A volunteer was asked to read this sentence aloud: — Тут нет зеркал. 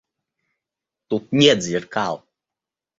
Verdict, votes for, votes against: accepted, 2, 0